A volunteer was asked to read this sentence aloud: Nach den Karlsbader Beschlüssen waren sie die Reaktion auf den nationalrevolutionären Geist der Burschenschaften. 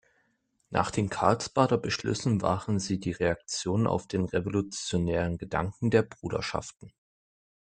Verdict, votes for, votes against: rejected, 0, 2